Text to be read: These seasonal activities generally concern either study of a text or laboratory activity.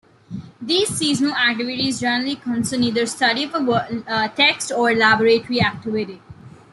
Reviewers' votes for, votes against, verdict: 0, 2, rejected